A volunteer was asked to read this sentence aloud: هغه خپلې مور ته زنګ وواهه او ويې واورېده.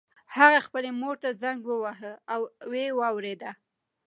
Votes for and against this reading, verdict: 2, 1, accepted